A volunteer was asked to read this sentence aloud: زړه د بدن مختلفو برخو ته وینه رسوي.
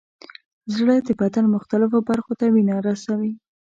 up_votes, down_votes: 2, 0